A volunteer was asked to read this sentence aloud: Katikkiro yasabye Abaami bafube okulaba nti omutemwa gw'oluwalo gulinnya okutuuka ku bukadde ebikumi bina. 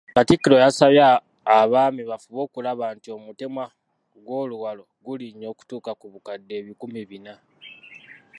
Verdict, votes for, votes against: accepted, 2, 0